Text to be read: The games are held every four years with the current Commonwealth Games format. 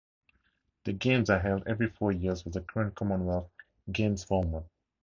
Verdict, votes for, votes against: accepted, 2, 0